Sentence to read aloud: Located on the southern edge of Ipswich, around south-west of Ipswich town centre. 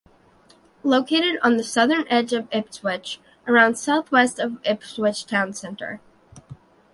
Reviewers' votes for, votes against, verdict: 0, 2, rejected